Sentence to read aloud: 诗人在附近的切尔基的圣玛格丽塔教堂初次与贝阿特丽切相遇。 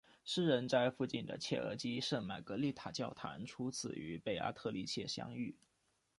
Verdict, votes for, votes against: accepted, 2, 0